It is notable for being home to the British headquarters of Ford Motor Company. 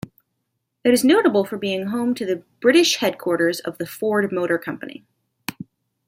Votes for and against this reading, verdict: 0, 2, rejected